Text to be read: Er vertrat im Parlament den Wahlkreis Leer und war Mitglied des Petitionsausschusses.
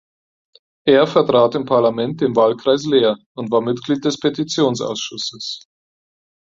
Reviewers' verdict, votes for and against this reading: accepted, 4, 0